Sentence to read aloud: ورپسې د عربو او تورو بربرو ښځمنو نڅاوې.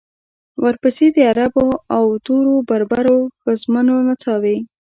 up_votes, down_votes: 0, 2